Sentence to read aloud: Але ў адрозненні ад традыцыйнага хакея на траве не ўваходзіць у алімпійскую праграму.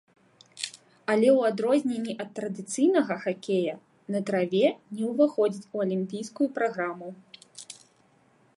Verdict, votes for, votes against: rejected, 1, 2